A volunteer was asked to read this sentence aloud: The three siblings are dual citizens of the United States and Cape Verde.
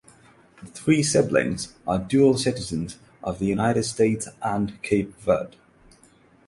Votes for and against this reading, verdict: 0, 3, rejected